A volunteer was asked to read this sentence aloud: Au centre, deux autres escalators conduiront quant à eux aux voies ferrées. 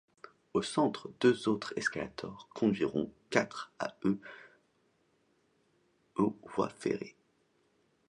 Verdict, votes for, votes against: rejected, 1, 2